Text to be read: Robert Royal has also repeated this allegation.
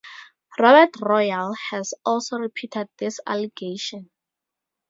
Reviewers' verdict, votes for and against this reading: accepted, 4, 0